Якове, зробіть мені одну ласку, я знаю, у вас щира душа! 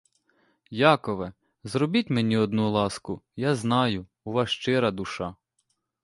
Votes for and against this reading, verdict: 2, 0, accepted